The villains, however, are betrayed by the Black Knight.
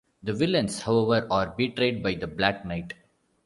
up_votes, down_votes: 2, 0